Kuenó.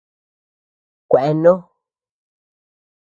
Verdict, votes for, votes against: rejected, 0, 2